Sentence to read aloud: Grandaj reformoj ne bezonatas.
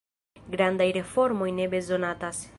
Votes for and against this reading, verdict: 2, 0, accepted